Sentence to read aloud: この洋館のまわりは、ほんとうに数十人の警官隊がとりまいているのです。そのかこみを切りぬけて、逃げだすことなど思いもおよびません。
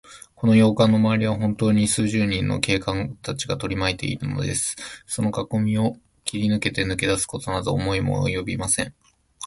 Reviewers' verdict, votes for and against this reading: rejected, 1, 2